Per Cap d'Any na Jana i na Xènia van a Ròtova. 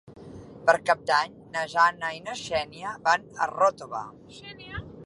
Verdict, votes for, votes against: rejected, 0, 2